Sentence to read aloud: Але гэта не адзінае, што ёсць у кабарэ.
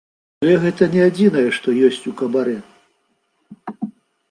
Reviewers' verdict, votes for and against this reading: accepted, 2, 0